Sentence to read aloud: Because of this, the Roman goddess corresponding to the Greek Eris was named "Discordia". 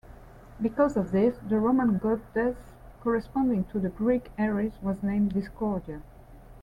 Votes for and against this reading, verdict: 2, 1, accepted